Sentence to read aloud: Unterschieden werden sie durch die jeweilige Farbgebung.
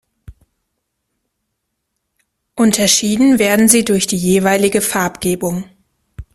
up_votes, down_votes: 2, 0